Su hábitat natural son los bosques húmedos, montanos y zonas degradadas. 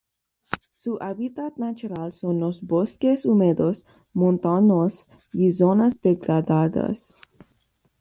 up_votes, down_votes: 1, 2